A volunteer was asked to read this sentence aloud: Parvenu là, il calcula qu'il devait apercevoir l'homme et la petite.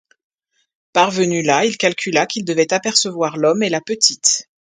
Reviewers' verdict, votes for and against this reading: accepted, 2, 0